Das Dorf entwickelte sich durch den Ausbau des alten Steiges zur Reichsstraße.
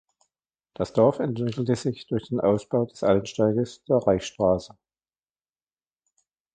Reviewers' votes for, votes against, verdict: 1, 2, rejected